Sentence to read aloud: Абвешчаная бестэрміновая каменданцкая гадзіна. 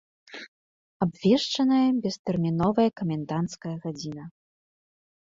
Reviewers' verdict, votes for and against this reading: accepted, 2, 0